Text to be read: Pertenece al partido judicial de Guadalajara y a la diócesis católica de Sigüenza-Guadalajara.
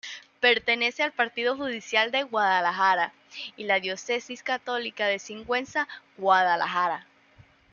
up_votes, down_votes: 1, 2